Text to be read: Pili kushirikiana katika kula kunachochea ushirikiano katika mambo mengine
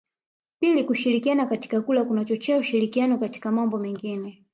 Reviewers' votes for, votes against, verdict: 1, 2, rejected